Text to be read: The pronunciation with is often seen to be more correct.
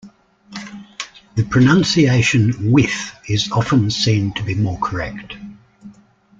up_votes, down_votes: 2, 0